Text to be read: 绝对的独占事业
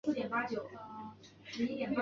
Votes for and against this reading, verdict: 1, 2, rejected